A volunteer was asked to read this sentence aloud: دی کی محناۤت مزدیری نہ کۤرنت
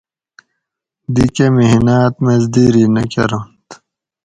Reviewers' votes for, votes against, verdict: 2, 2, rejected